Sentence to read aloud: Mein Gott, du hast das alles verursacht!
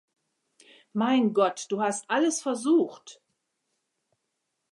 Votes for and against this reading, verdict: 0, 2, rejected